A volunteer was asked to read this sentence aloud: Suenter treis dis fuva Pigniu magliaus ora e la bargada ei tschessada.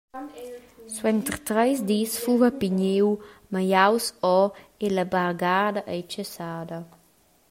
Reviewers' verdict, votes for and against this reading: accepted, 2, 0